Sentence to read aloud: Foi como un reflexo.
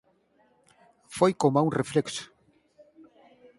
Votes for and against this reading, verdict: 2, 4, rejected